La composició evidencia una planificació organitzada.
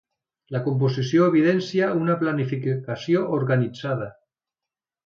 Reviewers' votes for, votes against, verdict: 1, 2, rejected